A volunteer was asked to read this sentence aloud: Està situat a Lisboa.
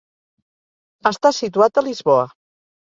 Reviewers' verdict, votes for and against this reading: accepted, 2, 0